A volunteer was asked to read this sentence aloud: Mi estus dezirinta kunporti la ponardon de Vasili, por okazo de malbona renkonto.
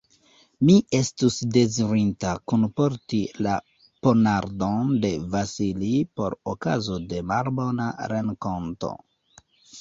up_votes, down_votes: 0, 2